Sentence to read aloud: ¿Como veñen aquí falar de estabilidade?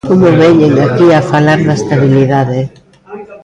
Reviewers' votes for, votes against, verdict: 1, 2, rejected